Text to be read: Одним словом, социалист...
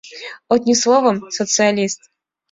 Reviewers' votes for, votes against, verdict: 3, 1, accepted